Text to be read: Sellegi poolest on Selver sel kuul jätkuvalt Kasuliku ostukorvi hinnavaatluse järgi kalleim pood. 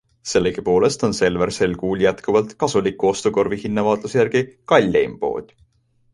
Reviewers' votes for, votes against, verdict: 2, 0, accepted